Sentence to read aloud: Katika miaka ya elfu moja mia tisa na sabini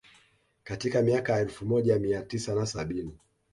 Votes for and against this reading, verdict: 2, 0, accepted